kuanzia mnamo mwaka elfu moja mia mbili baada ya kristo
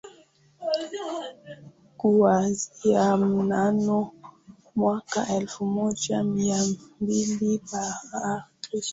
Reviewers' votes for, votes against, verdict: 0, 3, rejected